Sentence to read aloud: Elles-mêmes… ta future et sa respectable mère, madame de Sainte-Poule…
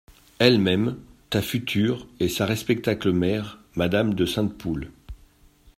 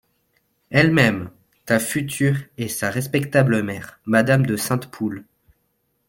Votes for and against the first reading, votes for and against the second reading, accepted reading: 0, 3, 2, 0, second